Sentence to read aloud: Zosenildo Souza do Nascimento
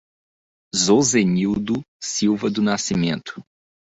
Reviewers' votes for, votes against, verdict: 0, 2, rejected